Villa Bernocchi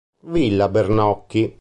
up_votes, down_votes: 2, 0